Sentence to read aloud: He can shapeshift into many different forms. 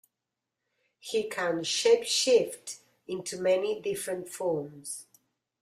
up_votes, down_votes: 2, 0